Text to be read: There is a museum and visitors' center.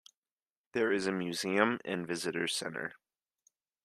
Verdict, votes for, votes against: accepted, 2, 0